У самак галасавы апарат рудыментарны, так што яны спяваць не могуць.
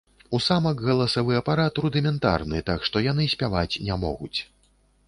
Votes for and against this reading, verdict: 2, 0, accepted